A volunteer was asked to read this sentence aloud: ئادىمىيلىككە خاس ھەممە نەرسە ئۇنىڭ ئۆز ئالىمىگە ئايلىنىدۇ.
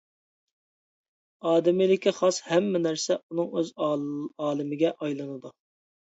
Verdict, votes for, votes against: rejected, 0, 2